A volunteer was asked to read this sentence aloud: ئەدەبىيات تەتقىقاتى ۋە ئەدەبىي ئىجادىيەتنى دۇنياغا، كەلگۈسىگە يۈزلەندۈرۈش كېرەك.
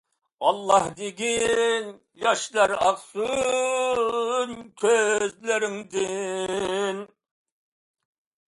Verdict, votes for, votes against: rejected, 0, 2